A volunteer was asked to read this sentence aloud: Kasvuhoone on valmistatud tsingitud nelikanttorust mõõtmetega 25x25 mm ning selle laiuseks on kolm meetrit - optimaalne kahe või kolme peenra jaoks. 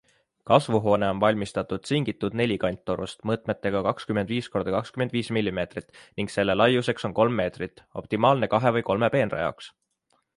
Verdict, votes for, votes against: rejected, 0, 2